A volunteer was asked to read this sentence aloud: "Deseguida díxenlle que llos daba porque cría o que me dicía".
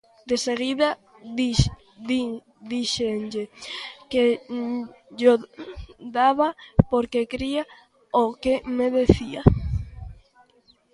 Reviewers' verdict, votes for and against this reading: rejected, 0, 2